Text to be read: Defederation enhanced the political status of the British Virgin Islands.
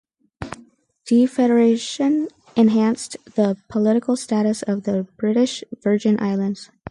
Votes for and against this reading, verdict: 4, 0, accepted